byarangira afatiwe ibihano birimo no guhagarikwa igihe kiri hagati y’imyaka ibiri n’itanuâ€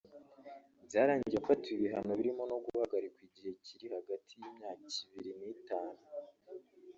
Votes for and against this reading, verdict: 1, 2, rejected